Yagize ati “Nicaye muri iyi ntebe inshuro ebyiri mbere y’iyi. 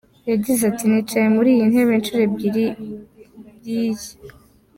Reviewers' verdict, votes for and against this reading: rejected, 1, 2